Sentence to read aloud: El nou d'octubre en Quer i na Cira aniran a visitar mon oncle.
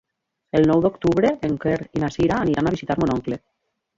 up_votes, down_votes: 2, 1